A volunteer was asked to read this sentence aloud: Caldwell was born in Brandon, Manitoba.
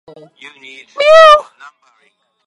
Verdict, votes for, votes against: rejected, 0, 2